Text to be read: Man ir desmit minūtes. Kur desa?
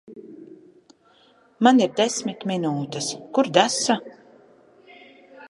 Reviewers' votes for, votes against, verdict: 0, 2, rejected